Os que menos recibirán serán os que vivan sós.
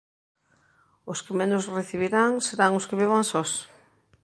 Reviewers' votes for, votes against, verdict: 2, 0, accepted